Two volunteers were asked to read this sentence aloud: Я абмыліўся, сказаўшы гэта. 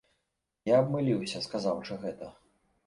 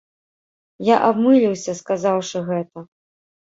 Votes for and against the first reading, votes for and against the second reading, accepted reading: 2, 0, 1, 2, first